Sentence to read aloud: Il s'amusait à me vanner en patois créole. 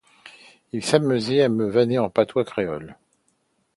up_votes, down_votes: 2, 0